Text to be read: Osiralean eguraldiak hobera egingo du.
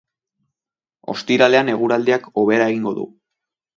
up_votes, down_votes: 3, 0